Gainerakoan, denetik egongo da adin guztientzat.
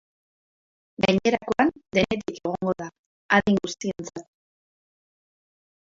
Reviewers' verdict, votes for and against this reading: rejected, 0, 2